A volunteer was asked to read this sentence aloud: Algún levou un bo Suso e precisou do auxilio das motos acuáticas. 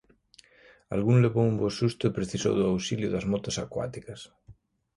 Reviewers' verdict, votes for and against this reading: rejected, 0, 2